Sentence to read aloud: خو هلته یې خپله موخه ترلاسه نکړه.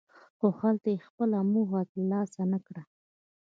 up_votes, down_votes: 2, 1